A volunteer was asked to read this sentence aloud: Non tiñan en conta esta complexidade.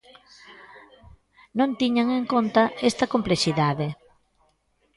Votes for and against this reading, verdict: 2, 0, accepted